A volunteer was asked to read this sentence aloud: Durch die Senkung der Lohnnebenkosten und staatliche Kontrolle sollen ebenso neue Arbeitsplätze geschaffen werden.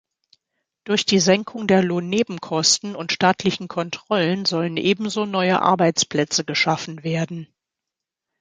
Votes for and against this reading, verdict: 0, 2, rejected